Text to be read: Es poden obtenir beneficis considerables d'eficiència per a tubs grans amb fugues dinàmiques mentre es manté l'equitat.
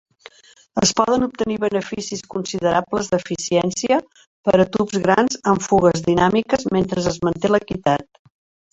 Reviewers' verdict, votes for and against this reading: rejected, 1, 2